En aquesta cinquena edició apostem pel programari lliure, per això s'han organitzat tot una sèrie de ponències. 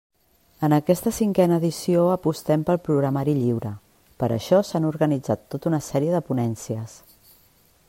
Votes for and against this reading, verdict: 2, 0, accepted